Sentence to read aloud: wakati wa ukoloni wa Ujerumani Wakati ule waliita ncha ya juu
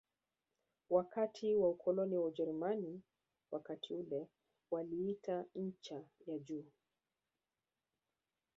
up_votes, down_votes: 1, 2